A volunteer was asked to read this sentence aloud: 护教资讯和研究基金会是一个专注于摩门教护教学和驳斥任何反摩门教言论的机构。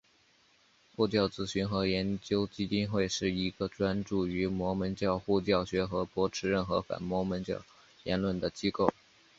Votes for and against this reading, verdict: 4, 1, accepted